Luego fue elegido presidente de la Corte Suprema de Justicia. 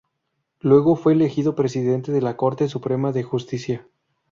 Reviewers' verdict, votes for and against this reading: accepted, 4, 0